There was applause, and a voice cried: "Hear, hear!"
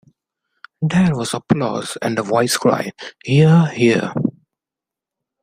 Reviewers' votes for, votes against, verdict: 2, 0, accepted